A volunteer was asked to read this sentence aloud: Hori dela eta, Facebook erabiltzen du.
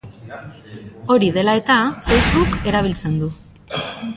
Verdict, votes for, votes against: rejected, 0, 2